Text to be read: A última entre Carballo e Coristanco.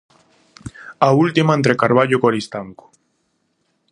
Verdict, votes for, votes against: accepted, 2, 0